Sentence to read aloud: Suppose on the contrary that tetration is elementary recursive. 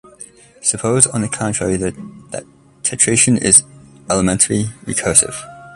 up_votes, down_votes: 2, 0